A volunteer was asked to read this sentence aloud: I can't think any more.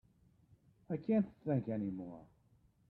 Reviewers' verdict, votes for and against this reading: rejected, 0, 2